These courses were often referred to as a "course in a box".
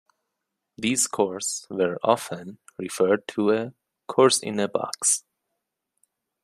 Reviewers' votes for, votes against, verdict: 0, 2, rejected